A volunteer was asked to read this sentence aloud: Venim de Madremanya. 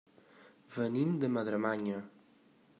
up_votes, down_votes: 2, 0